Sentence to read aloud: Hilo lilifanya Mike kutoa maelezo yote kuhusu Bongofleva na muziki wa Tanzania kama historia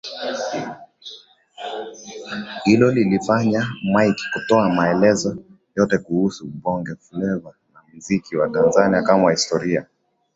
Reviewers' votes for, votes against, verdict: 2, 1, accepted